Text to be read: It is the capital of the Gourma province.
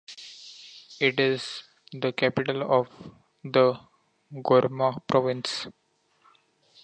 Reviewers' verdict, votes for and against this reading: accepted, 2, 0